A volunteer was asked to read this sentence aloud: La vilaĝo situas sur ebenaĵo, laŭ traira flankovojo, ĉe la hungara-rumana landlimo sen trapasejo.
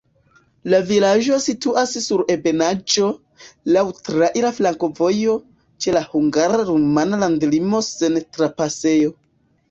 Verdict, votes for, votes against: accepted, 2, 1